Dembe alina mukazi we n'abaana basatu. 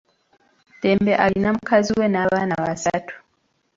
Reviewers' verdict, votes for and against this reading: rejected, 1, 2